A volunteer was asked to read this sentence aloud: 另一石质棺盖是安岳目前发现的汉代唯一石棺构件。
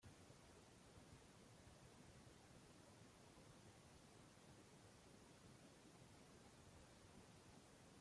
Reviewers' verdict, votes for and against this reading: rejected, 0, 2